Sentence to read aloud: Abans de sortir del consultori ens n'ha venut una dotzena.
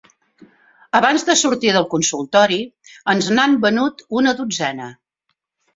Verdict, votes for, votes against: accepted, 2, 1